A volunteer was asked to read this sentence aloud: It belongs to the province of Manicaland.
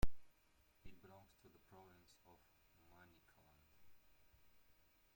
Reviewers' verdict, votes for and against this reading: rejected, 0, 2